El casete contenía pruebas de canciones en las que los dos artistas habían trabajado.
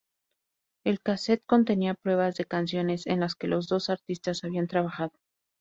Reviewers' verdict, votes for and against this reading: rejected, 0, 2